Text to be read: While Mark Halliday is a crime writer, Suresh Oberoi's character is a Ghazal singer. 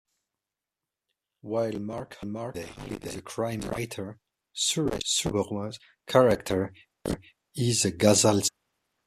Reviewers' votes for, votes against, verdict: 0, 2, rejected